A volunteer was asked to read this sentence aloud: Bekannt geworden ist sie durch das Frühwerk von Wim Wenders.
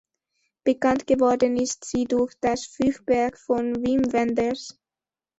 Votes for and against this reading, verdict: 0, 2, rejected